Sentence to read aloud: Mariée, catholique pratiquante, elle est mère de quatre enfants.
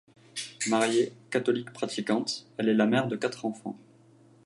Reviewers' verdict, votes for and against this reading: rejected, 0, 2